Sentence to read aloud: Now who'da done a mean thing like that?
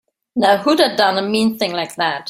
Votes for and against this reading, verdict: 2, 0, accepted